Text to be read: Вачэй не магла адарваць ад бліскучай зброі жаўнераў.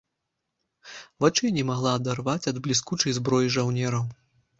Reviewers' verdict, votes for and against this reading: accepted, 2, 0